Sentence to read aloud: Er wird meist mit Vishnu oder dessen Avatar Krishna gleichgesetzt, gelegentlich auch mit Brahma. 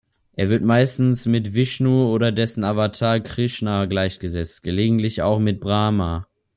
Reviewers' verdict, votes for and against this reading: rejected, 2, 3